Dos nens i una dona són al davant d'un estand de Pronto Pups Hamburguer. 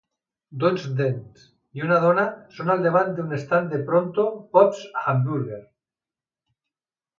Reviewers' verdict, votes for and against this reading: accepted, 2, 1